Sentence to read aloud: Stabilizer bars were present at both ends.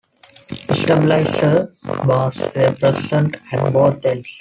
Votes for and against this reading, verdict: 1, 2, rejected